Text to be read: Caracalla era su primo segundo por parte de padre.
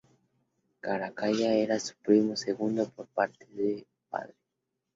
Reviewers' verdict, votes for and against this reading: accepted, 4, 0